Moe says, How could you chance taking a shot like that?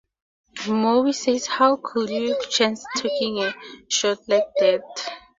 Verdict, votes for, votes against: accepted, 2, 0